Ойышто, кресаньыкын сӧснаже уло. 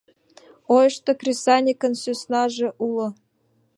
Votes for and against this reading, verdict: 2, 0, accepted